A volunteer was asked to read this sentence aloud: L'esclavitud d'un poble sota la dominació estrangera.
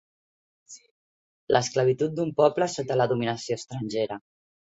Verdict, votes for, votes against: accepted, 3, 0